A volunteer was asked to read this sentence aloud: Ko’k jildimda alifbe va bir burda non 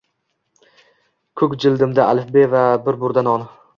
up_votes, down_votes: 2, 0